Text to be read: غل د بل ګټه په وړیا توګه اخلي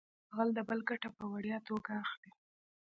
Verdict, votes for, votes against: accepted, 2, 0